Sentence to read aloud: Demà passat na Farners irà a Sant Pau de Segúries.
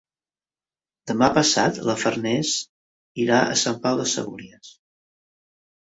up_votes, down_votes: 0, 2